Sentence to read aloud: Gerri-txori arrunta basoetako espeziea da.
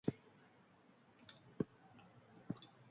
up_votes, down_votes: 0, 4